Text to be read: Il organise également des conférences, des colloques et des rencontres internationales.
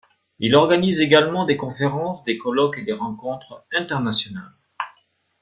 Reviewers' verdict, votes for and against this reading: rejected, 1, 2